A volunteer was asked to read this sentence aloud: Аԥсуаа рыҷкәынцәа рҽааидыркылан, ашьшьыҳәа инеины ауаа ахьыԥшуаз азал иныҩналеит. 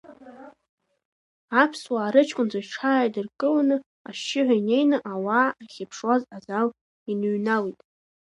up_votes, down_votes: 1, 2